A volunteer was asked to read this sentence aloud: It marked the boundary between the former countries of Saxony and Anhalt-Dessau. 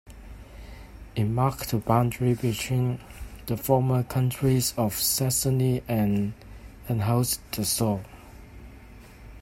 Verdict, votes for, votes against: rejected, 1, 2